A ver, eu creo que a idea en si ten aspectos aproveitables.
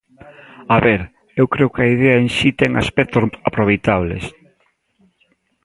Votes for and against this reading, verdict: 1, 2, rejected